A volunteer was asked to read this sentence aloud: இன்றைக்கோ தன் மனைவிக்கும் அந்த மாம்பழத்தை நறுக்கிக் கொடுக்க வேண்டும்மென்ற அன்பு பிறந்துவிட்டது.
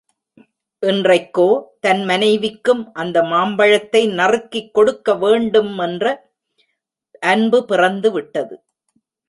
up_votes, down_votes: 2, 0